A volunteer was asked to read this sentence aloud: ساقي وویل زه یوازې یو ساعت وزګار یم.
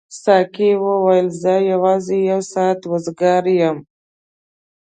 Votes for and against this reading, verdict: 2, 0, accepted